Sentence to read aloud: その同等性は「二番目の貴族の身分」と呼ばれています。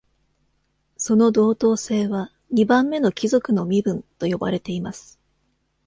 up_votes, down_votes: 2, 0